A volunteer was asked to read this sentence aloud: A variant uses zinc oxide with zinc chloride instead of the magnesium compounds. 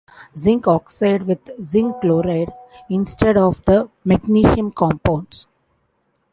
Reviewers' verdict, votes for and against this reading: rejected, 0, 2